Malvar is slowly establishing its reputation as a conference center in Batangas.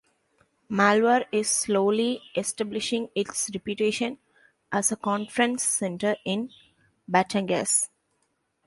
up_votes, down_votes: 2, 0